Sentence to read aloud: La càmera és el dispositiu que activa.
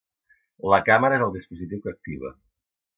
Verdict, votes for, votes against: rejected, 1, 2